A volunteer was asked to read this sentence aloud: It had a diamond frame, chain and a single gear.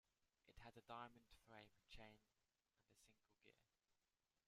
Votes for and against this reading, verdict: 0, 2, rejected